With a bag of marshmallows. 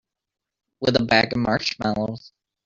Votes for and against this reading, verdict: 1, 2, rejected